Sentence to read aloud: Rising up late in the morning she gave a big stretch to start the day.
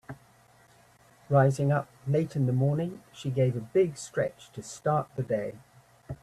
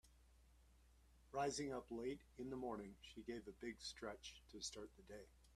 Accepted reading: first